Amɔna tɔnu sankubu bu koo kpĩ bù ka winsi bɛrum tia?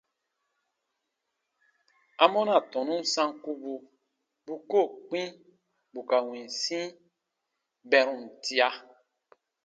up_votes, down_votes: 2, 1